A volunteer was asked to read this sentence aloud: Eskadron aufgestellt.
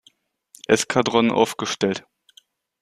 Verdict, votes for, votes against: accepted, 2, 0